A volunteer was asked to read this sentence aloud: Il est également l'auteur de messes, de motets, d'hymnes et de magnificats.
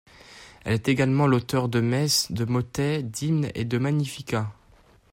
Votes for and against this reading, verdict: 1, 2, rejected